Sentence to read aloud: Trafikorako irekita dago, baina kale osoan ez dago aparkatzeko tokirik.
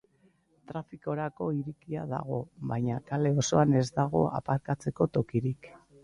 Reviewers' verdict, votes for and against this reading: rejected, 0, 2